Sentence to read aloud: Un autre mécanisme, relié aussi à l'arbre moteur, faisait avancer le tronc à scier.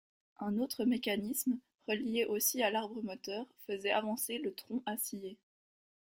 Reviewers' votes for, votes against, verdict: 2, 0, accepted